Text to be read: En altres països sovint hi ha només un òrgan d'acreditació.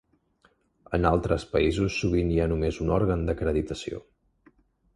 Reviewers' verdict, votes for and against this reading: accepted, 3, 0